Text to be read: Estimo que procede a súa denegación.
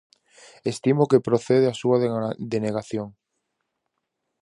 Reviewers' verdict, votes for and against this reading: rejected, 0, 4